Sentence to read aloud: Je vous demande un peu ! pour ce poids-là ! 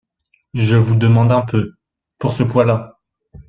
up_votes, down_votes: 2, 1